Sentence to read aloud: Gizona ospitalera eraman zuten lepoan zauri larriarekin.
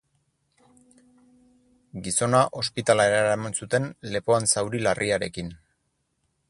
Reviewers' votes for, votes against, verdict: 2, 6, rejected